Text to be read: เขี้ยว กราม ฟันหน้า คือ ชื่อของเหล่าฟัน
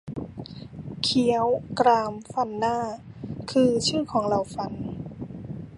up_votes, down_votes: 0, 2